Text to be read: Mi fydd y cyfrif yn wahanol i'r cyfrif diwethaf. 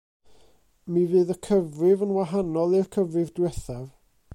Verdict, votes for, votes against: accepted, 2, 0